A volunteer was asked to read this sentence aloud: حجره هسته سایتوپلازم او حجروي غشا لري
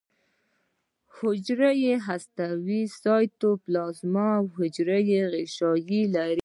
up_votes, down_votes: 2, 0